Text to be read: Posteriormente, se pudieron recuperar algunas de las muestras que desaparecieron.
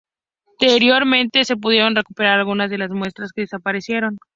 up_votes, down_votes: 0, 2